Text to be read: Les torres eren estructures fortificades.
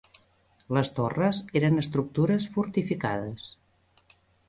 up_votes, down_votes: 3, 0